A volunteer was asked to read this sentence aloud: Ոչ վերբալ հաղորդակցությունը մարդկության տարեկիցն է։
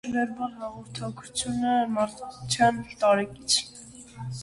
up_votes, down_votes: 0, 2